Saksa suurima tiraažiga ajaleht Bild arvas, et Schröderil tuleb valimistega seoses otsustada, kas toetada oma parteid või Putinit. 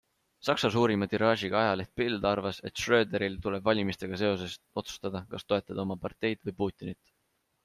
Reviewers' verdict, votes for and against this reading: accepted, 2, 0